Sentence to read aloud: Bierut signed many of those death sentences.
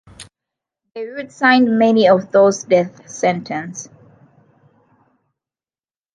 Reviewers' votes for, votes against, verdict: 0, 2, rejected